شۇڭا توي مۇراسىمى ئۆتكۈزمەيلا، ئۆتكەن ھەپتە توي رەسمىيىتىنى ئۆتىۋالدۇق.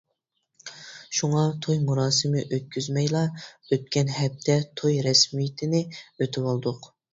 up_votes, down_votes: 2, 0